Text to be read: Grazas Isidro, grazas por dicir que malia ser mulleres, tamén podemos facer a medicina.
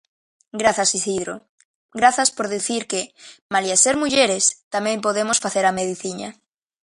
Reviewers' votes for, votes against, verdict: 1, 2, rejected